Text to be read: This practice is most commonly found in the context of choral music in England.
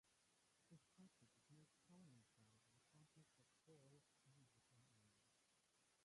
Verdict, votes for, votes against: rejected, 0, 3